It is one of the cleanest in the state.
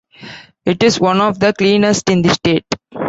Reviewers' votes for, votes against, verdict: 1, 2, rejected